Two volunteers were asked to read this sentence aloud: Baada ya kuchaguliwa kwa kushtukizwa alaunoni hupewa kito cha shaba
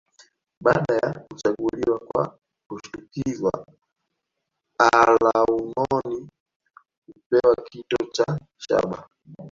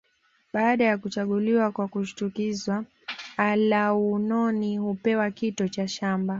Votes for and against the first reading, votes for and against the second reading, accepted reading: 1, 3, 2, 0, second